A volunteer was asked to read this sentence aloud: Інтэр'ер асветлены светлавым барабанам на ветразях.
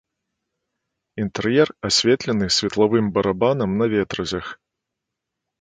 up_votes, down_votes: 2, 0